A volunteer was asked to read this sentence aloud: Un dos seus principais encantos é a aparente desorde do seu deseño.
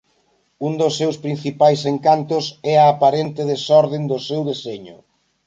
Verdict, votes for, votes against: rejected, 0, 2